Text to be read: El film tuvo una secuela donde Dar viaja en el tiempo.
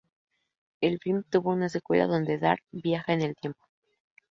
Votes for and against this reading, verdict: 0, 2, rejected